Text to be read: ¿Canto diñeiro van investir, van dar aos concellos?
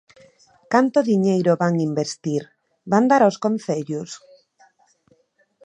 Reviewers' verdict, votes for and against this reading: rejected, 1, 2